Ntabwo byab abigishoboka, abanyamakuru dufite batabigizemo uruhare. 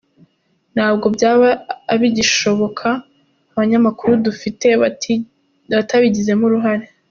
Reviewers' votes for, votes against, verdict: 0, 3, rejected